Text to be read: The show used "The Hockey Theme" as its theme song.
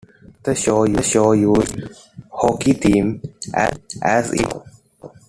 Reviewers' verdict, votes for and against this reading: rejected, 1, 2